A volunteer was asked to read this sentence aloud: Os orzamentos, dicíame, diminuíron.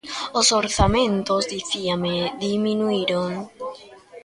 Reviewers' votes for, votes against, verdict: 1, 2, rejected